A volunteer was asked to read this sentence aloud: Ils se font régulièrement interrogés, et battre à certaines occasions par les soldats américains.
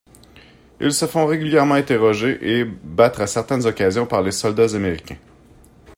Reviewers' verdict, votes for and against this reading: accepted, 2, 0